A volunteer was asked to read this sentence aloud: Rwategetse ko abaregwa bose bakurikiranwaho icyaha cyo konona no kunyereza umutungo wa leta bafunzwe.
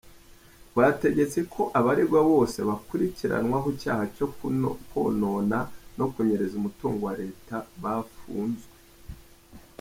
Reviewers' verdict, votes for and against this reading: rejected, 1, 2